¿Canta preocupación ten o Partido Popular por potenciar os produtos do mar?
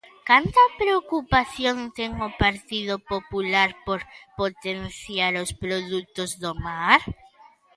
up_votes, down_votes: 2, 0